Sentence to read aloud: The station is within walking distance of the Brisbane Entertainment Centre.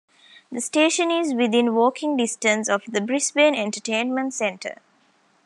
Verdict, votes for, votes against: rejected, 1, 2